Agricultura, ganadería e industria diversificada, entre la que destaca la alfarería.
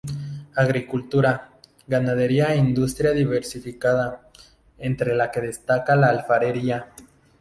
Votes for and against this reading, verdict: 0, 2, rejected